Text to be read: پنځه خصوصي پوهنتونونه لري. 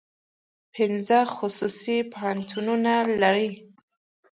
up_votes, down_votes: 2, 0